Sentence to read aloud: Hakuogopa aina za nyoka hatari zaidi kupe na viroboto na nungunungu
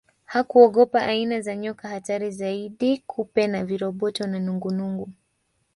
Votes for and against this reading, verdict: 1, 2, rejected